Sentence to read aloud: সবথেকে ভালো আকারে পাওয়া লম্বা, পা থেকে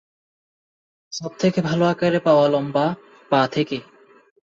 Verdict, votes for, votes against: accepted, 2, 0